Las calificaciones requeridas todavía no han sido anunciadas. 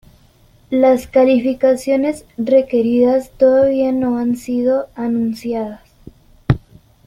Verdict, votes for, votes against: rejected, 0, 2